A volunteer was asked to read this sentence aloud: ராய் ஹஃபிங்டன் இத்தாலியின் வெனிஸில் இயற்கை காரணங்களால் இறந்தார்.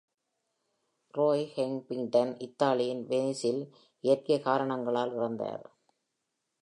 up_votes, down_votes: 2, 0